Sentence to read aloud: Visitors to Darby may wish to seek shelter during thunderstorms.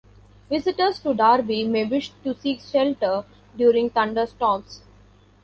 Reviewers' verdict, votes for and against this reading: accepted, 2, 1